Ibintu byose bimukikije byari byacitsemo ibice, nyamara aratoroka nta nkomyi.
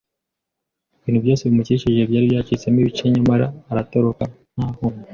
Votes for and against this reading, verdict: 2, 0, accepted